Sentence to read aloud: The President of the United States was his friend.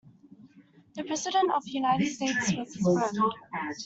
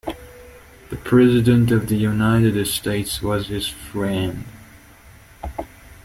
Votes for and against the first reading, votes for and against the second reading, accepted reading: 0, 2, 2, 0, second